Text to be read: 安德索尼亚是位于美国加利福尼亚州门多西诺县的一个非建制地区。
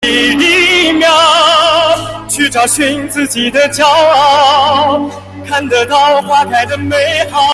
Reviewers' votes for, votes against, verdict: 0, 2, rejected